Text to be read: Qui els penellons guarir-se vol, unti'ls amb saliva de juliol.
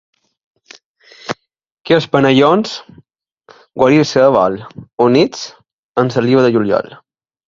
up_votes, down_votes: 0, 2